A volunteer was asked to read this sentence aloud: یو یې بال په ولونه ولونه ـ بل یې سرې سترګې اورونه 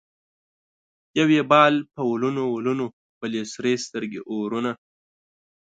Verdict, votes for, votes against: accepted, 2, 0